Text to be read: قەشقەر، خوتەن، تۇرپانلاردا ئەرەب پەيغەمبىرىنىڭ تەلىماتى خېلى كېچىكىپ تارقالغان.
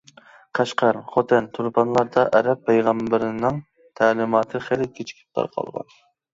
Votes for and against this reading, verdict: 2, 0, accepted